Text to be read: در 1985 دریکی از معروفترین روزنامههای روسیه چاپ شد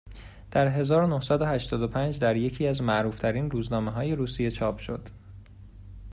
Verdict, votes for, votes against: rejected, 0, 2